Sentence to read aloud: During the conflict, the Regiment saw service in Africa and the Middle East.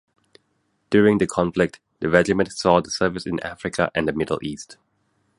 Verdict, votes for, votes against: rejected, 0, 2